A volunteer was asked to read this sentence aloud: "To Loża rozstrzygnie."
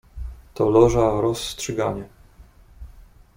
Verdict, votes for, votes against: rejected, 0, 2